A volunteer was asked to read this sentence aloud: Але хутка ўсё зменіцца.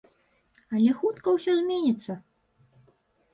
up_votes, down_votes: 2, 0